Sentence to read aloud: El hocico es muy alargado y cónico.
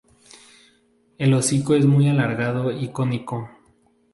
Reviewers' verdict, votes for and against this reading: accepted, 2, 0